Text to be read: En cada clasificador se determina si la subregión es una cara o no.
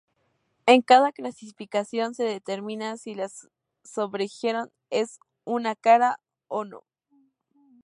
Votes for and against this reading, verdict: 0, 4, rejected